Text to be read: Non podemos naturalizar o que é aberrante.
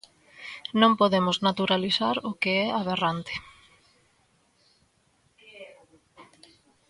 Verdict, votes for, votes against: accepted, 2, 0